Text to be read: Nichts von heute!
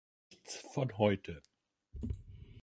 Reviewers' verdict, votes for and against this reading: rejected, 0, 2